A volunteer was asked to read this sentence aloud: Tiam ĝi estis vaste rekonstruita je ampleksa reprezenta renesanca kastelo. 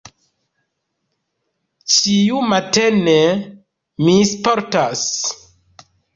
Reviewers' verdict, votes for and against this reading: rejected, 0, 2